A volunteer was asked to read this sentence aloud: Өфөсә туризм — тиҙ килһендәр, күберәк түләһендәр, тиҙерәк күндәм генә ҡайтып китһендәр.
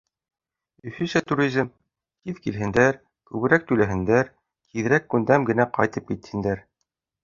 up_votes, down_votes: 2, 0